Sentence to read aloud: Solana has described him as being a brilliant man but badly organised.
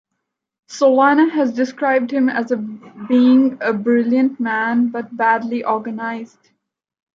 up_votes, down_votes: 1, 2